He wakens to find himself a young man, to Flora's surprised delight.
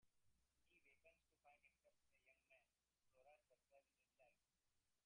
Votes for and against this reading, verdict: 0, 2, rejected